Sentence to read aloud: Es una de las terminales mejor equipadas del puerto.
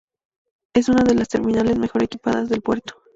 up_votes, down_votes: 2, 0